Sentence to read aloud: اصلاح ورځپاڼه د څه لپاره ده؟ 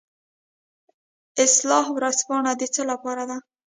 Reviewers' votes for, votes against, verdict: 0, 2, rejected